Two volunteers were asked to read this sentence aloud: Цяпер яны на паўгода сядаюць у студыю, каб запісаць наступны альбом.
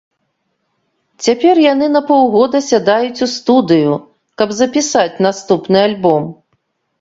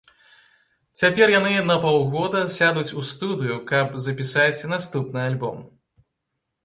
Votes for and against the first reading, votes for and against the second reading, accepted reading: 2, 0, 0, 2, first